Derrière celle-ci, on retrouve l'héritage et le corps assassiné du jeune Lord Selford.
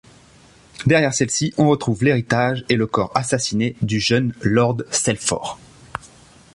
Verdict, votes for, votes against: accepted, 2, 0